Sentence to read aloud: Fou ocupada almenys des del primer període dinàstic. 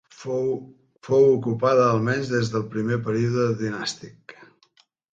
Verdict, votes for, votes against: rejected, 1, 2